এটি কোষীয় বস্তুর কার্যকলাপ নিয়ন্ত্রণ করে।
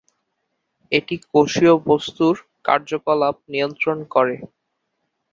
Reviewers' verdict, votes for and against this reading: accepted, 6, 0